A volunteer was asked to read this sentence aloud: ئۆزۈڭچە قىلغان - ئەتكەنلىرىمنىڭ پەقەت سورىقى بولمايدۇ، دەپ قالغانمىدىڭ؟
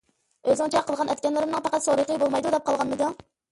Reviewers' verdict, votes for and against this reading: accepted, 2, 0